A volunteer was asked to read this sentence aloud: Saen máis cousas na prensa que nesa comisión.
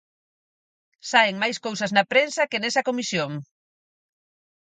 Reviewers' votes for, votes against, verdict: 4, 0, accepted